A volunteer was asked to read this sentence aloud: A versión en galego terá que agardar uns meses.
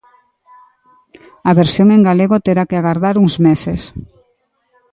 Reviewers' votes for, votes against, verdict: 2, 0, accepted